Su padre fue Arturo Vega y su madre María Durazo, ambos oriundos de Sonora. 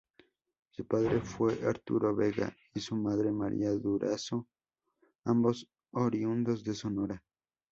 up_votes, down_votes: 2, 0